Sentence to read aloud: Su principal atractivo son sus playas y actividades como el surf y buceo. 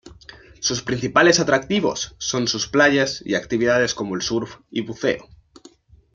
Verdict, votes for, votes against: rejected, 1, 2